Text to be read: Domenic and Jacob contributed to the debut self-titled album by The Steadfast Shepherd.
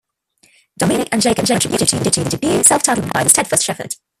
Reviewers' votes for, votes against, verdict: 0, 2, rejected